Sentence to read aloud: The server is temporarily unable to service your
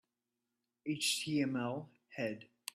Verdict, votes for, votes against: rejected, 0, 3